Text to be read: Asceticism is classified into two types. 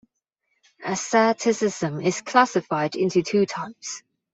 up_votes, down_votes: 2, 3